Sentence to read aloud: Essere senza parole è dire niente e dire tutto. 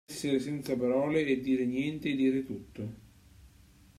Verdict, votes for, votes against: rejected, 1, 2